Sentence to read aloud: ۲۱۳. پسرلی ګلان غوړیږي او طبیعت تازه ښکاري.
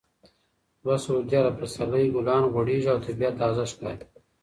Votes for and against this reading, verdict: 0, 2, rejected